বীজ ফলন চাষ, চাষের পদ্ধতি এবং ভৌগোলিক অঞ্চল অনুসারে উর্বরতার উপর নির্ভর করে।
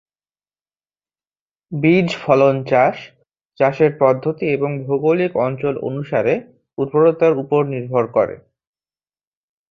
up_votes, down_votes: 2, 0